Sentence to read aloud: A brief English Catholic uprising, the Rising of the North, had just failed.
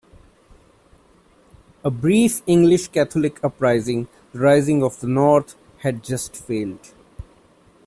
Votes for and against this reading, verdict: 1, 2, rejected